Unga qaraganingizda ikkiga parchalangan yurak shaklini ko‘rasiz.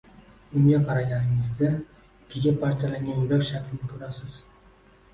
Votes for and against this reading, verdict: 2, 0, accepted